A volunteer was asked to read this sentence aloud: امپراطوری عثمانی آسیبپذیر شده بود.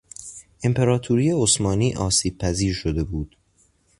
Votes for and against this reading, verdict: 2, 0, accepted